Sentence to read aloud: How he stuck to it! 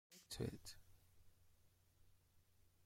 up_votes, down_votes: 0, 2